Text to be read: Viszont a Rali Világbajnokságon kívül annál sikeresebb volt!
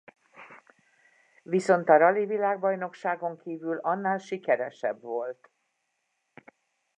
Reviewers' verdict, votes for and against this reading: accepted, 2, 0